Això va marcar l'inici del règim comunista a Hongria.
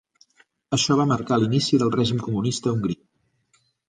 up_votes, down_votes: 1, 2